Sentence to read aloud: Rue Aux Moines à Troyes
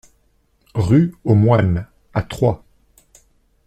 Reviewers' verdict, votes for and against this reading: accepted, 2, 0